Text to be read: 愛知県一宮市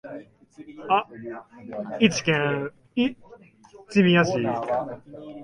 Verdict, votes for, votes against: rejected, 0, 2